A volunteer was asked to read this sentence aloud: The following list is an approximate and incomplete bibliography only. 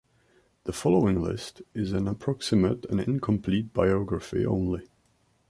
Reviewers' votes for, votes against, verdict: 0, 2, rejected